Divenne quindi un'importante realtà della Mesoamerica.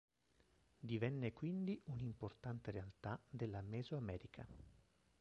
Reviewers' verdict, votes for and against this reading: rejected, 0, 2